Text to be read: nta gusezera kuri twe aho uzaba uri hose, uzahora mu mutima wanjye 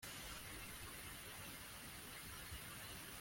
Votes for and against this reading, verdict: 0, 2, rejected